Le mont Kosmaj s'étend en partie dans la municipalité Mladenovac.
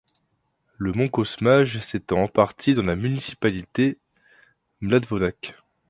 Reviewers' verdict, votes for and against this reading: rejected, 0, 2